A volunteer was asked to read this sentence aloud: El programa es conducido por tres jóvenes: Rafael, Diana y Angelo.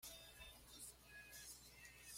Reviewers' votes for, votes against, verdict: 1, 2, rejected